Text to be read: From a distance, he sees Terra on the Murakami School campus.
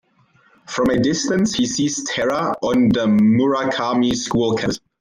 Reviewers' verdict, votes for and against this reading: accepted, 2, 0